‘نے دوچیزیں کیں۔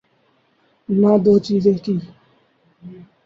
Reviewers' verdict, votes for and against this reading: rejected, 0, 2